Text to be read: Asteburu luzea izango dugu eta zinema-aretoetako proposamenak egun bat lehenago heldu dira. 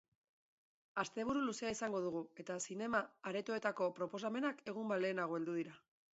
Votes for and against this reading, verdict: 0, 2, rejected